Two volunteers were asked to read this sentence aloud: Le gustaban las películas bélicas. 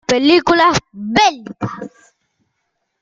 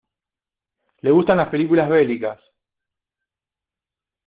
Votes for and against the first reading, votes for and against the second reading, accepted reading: 0, 2, 2, 1, second